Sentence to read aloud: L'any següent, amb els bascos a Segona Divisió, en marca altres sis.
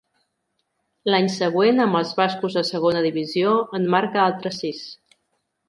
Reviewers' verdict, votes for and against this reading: accepted, 2, 0